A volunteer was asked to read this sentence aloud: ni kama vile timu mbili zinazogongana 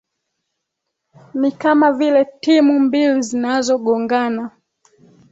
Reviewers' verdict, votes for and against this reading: accepted, 2, 0